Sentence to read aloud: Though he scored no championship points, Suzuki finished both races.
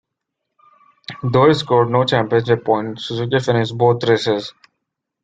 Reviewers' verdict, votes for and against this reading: accepted, 2, 0